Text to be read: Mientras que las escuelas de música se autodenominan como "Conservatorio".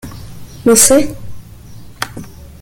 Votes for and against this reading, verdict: 0, 2, rejected